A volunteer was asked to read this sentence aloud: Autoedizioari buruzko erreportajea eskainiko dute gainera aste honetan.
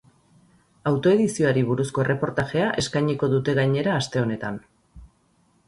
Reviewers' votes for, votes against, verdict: 4, 0, accepted